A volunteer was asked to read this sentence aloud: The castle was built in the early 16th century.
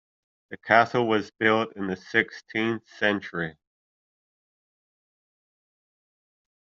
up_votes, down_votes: 0, 2